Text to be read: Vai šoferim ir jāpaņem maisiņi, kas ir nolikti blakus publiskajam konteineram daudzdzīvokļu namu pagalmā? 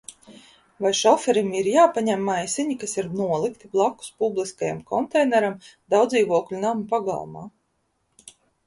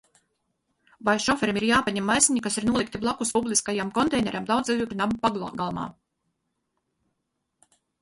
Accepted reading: first